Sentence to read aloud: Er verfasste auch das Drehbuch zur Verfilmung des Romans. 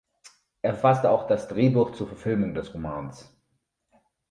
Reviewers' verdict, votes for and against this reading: rejected, 0, 2